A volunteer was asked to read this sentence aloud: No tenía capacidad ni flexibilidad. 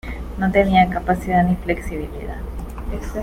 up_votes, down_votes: 1, 2